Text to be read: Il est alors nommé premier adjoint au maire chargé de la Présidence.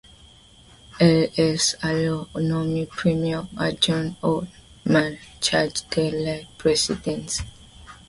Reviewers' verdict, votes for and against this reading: rejected, 1, 2